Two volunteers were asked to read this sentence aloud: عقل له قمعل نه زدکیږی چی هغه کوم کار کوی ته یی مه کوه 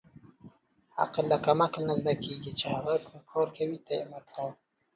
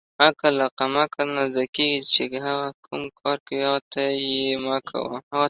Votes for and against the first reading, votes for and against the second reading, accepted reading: 2, 1, 0, 2, first